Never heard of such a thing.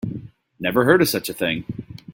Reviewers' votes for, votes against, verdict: 3, 0, accepted